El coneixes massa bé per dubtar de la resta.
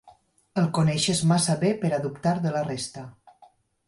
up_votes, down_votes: 2, 4